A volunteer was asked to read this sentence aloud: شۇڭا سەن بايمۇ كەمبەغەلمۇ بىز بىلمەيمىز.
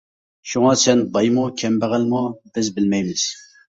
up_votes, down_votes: 3, 0